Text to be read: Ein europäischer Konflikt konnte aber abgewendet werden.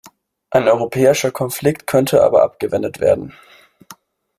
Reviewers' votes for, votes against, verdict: 2, 1, accepted